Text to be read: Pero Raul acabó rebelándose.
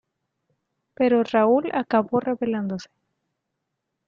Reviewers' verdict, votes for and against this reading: rejected, 0, 2